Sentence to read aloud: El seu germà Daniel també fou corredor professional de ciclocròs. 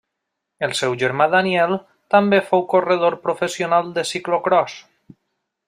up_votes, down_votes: 2, 1